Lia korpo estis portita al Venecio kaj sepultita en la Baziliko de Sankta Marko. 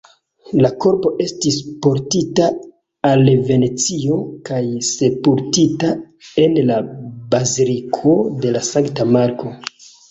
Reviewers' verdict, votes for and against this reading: rejected, 1, 2